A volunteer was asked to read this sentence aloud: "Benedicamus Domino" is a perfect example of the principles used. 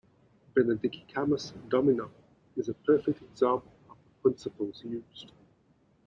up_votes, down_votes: 1, 2